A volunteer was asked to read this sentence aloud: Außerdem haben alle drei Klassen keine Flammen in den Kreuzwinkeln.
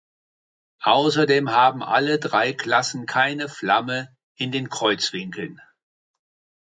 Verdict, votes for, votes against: accepted, 2, 1